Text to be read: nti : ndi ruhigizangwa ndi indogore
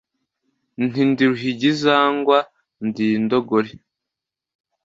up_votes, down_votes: 2, 1